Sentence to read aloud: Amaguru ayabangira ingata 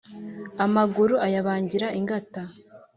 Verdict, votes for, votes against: accepted, 3, 0